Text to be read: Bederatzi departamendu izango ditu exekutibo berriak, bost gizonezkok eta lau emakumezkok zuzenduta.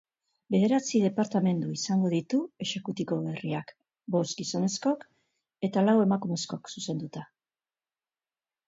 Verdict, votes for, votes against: accepted, 2, 0